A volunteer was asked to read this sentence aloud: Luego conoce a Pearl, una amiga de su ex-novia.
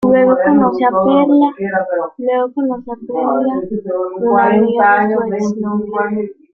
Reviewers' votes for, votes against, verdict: 0, 2, rejected